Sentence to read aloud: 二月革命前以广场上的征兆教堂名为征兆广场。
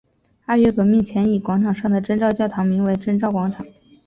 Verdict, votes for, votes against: accepted, 4, 0